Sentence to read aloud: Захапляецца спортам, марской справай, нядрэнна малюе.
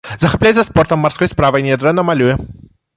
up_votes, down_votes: 2, 0